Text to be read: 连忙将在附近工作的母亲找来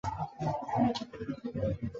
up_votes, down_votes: 0, 2